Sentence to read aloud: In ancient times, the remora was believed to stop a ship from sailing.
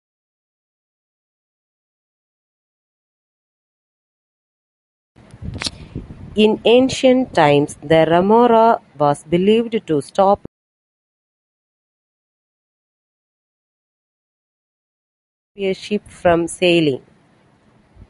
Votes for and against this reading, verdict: 0, 2, rejected